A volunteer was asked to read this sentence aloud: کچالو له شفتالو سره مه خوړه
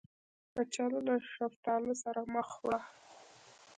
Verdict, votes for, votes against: rejected, 0, 2